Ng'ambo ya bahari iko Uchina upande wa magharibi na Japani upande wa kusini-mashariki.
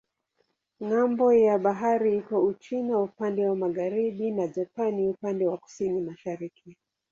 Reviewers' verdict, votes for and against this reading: accepted, 2, 0